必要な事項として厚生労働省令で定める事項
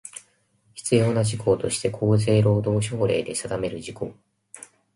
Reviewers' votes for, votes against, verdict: 2, 0, accepted